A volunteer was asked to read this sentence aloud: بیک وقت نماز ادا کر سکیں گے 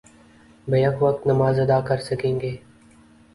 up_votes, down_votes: 4, 0